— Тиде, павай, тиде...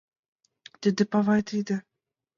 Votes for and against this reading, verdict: 2, 1, accepted